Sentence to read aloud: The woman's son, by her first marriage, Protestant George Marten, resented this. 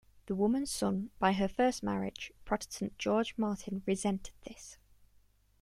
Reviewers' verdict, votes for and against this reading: accepted, 2, 0